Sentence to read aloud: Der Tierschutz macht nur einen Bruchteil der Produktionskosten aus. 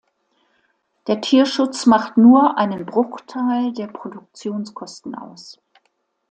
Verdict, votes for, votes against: accepted, 2, 0